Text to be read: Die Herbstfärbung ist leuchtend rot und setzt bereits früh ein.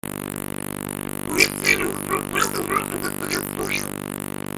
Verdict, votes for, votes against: rejected, 0, 2